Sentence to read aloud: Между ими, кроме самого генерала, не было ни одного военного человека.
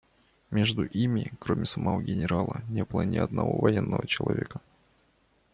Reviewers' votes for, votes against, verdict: 2, 0, accepted